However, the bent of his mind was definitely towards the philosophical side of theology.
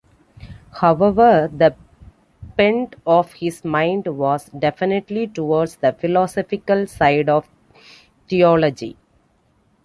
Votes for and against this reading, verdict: 2, 0, accepted